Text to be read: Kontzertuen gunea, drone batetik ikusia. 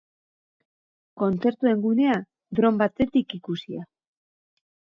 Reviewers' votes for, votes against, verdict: 0, 2, rejected